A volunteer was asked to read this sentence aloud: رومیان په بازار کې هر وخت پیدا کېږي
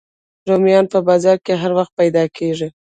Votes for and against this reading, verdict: 1, 2, rejected